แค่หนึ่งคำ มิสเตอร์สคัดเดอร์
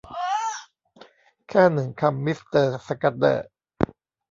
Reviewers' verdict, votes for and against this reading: rejected, 0, 2